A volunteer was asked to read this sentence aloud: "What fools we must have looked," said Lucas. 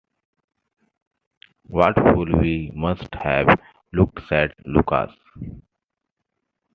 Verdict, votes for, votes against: accepted, 2, 1